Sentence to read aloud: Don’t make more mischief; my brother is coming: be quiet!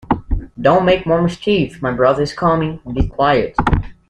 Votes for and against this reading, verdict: 2, 1, accepted